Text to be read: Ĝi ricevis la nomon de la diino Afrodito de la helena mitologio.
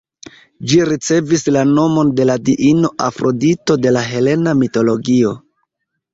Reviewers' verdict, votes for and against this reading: rejected, 1, 2